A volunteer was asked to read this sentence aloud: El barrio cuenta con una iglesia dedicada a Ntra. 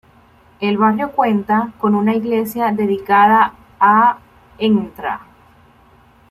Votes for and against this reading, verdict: 1, 2, rejected